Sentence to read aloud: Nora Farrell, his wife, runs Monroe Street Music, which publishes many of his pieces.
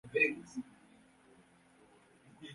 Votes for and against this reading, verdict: 0, 2, rejected